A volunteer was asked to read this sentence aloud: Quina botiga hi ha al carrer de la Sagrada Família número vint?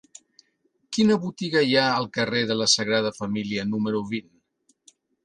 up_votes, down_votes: 3, 1